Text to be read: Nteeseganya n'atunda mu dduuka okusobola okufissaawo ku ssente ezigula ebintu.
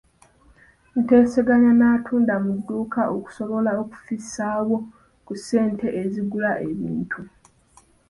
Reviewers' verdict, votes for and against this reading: rejected, 1, 2